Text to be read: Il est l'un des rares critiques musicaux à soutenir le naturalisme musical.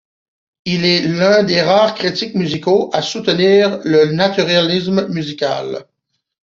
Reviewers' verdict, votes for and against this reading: rejected, 0, 2